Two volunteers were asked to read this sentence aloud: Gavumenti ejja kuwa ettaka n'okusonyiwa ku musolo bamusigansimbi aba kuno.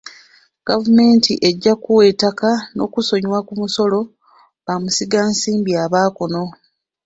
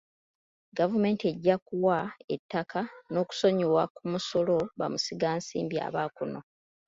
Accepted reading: second